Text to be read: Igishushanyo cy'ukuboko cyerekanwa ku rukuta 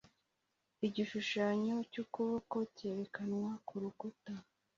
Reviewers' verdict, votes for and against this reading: accepted, 2, 0